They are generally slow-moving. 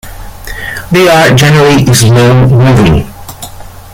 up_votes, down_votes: 0, 2